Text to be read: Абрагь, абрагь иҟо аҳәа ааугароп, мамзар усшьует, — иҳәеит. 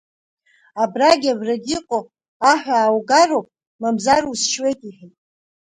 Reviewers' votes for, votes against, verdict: 2, 3, rejected